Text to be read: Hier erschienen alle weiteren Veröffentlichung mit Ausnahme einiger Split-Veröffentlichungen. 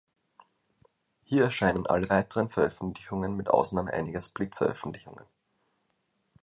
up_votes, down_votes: 0, 2